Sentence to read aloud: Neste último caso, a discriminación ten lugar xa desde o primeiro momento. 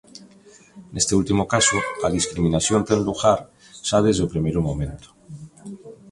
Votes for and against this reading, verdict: 2, 0, accepted